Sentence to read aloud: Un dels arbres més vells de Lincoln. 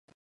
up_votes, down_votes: 0, 3